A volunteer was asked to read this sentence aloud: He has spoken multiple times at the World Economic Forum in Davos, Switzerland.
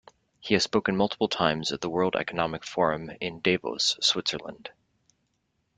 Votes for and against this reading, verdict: 2, 0, accepted